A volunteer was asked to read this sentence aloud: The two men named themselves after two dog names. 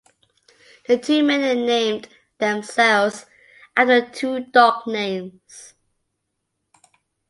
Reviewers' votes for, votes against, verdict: 2, 1, accepted